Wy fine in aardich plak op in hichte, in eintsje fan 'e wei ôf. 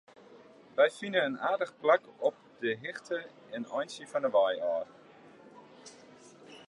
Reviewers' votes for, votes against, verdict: 0, 2, rejected